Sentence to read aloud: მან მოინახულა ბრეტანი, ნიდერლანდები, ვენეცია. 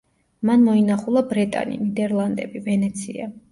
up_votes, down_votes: 2, 0